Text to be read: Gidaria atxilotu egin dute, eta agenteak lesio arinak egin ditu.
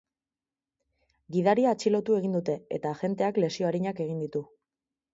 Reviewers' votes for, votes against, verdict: 2, 0, accepted